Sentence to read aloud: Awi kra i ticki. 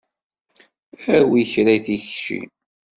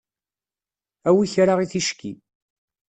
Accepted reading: second